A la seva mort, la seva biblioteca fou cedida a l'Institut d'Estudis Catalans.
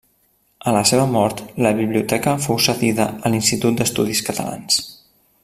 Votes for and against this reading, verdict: 0, 2, rejected